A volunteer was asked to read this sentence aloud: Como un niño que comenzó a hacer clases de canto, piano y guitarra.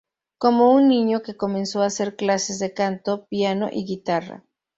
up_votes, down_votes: 2, 0